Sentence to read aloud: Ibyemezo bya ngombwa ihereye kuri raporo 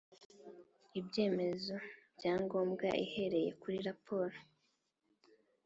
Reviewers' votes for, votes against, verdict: 2, 0, accepted